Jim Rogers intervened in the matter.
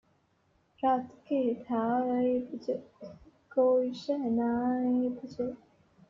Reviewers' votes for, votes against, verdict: 0, 2, rejected